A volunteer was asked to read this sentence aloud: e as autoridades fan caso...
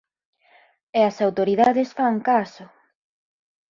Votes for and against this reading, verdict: 6, 0, accepted